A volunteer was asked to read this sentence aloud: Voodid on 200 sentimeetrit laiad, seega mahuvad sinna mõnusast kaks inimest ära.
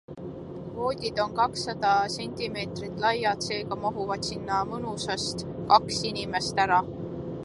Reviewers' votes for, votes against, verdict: 0, 2, rejected